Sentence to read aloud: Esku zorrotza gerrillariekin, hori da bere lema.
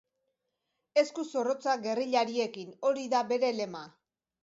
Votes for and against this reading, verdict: 2, 0, accepted